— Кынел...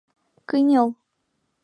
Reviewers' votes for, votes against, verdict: 2, 0, accepted